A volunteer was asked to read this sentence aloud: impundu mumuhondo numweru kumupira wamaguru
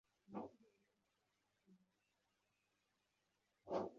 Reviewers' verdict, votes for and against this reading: rejected, 0, 2